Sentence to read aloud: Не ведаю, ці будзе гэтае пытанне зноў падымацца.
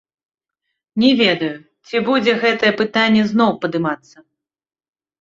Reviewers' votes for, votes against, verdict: 2, 1, accepted